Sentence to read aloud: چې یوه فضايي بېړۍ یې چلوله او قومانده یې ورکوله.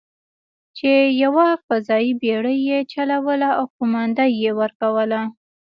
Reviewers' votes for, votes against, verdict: 1, 2, rejected